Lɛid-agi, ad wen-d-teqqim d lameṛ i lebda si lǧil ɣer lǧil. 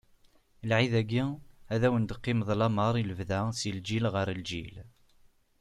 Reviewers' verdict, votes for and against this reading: accepted, 2, 0